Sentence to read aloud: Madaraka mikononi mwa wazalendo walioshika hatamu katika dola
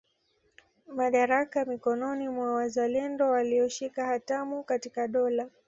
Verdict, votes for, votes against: accepted, 2, 0